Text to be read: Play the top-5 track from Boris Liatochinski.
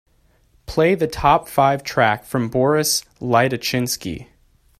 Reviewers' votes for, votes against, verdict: 0, 2, rejected